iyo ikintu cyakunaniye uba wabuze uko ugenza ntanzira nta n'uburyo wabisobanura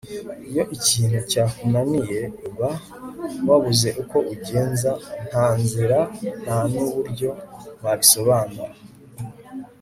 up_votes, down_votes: 4, 0